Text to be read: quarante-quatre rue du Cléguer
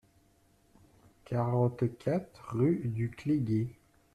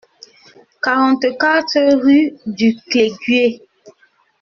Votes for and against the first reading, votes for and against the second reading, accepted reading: 2, 1, 0, 2, first